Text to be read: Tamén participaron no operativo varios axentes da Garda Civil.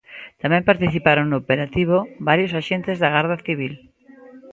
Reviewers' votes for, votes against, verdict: 1, 2, rejected